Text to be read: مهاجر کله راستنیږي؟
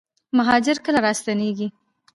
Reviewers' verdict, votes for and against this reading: accepted, 2, 1